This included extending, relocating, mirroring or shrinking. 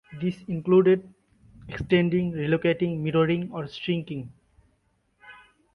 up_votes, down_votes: 2, 0